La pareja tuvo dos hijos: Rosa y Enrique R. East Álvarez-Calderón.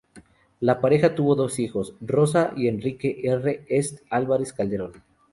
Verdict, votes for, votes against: rejected, 0, 2